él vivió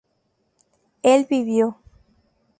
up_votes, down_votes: 2, 0